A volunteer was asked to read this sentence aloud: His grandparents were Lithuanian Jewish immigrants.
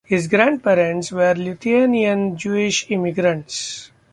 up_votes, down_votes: 2, 0